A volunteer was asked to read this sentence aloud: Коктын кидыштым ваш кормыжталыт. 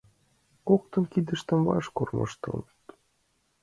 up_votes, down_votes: 1, 2